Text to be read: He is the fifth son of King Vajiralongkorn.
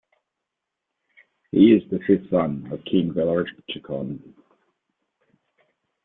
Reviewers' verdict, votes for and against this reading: rejected, 1, 2